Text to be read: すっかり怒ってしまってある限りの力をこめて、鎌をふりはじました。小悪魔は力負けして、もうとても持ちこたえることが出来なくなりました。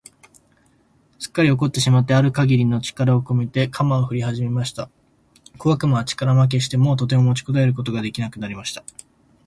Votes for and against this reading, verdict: 5, 0, accepted